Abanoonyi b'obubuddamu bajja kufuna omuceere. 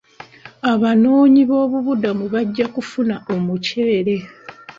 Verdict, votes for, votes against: accepted, 2, 1